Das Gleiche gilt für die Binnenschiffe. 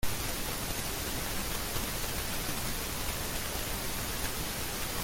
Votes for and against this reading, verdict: 0, 2, rejected